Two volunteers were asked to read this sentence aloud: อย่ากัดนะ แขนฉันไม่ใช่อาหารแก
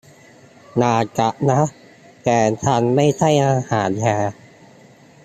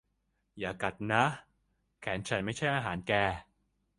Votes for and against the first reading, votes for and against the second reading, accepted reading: 0, 2, 2, 0, second